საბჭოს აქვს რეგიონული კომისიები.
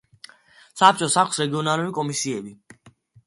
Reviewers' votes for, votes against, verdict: 2, 1, accepted